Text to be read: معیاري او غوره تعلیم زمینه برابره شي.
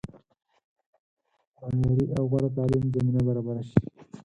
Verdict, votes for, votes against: rejected, 2, 4